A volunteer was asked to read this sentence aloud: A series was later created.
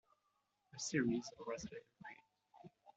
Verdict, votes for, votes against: rejected, 0, 2